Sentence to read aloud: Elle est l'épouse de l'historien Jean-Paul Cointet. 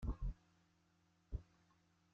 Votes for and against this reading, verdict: 0, 2, rejected